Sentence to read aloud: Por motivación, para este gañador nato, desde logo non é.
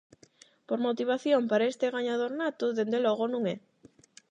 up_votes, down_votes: 0, 8